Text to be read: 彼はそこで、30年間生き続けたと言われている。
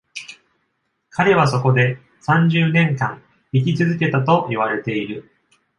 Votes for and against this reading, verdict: 0, 2, rejected